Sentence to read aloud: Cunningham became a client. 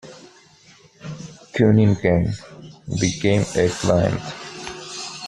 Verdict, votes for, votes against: accepted, 2, 0